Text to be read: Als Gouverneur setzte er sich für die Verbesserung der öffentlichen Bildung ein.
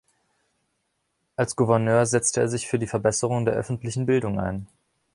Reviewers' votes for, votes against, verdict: 2, 0, accepted